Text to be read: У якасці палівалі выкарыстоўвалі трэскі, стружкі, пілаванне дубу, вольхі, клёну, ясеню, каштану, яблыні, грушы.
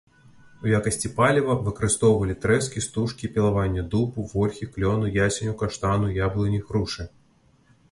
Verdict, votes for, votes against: rejected, 1, 2